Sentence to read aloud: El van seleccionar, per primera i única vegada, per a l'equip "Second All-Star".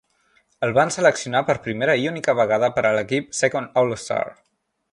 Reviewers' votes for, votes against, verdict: 4, 0, accepted